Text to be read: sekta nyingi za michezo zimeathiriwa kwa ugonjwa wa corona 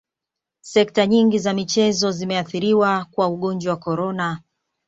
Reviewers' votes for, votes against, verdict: 2, 1, accepted